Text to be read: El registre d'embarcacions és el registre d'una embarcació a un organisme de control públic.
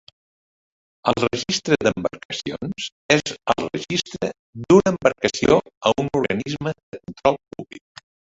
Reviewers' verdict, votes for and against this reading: rejected, 1, 2